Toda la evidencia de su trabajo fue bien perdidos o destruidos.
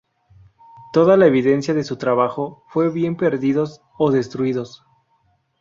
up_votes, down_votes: 4, 0